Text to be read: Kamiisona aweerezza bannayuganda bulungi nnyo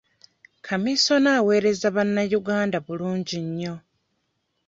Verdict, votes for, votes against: rejected, 0, 2